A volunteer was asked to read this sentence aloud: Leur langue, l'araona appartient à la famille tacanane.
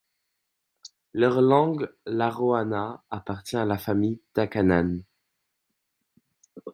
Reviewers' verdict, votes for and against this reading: rejected, 0, 2